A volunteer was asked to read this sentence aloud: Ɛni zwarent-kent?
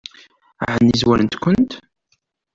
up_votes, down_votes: 2, 0